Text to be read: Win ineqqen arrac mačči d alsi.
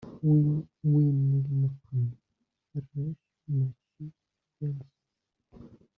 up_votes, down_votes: 0, 2